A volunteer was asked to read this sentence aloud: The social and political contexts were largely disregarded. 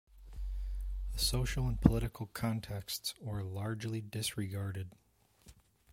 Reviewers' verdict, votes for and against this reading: accepted, 2, 0